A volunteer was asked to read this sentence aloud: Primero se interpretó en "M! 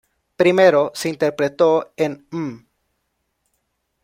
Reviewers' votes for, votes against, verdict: 1, 2, rejected